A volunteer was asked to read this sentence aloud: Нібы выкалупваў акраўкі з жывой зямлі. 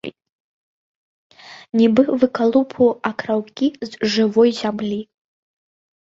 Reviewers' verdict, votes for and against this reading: accepted, 2, 0